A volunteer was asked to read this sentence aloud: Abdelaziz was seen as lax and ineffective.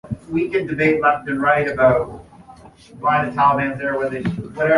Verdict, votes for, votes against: rejected, 0, 2